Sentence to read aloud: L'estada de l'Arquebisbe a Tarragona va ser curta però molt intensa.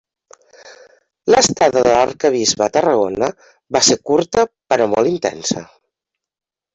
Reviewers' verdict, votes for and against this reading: accepted, 3, 0